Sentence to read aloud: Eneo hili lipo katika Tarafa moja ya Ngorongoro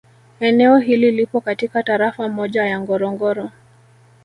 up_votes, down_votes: 0, 2